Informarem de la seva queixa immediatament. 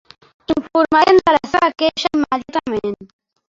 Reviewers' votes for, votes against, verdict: 0, 2, rejected